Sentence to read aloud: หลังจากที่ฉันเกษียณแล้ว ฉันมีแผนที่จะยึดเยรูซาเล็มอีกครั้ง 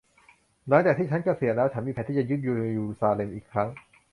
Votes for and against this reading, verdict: 0, 3, rejected